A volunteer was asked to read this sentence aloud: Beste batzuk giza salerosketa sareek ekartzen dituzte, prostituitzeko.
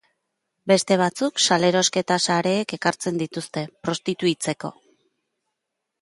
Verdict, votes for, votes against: rejected, 0, 2